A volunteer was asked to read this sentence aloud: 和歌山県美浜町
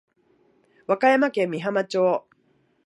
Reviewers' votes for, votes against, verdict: 2, 0, accepted